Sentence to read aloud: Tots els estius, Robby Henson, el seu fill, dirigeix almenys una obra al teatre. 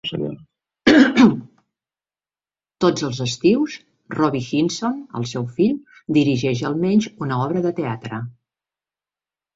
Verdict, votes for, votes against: accepted, 3, 0